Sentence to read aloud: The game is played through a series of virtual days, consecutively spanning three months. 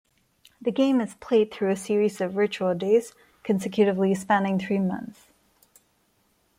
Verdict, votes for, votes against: rejected, 1, 2